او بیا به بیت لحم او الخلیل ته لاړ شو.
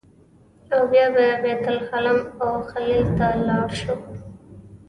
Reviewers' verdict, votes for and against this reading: rejected, 1, 2